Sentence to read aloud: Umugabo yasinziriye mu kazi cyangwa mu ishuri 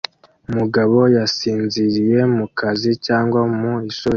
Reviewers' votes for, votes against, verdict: 2, 0, accepted